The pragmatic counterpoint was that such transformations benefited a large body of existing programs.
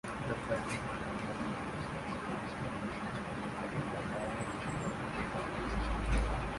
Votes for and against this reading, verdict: 0, 2, rejected